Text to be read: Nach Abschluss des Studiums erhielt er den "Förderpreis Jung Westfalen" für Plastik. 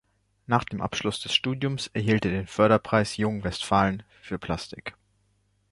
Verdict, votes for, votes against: rejected, 0, 2